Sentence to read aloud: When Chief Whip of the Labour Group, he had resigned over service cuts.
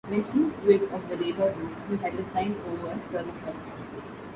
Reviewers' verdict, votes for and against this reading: rejected, 1, 2